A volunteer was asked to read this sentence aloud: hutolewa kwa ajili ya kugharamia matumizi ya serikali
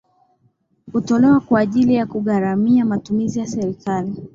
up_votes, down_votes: 9, 2